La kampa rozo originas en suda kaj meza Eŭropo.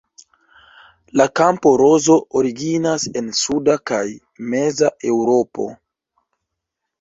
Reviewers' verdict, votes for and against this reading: accepted, 2, 1